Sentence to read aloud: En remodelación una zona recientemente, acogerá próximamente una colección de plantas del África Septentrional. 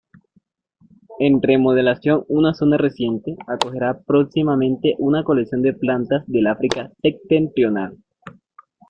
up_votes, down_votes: 1, 2